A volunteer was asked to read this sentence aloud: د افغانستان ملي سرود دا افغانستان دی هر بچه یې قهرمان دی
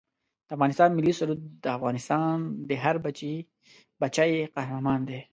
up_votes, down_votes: 0, 2